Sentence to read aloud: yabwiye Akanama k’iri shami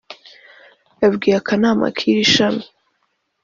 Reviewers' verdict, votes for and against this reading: accepted, 2, 0